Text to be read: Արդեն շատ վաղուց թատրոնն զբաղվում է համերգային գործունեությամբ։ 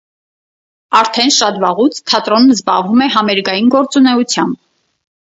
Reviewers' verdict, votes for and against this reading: rejected, 2, 2